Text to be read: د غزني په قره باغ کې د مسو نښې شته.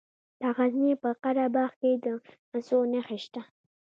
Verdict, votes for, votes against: accepted, 2, 1